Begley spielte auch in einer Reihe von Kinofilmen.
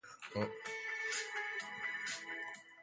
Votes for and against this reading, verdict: 0, 2, rejected